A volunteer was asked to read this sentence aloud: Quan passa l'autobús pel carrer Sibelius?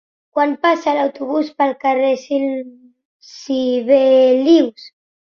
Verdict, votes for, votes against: rejected, 1, 2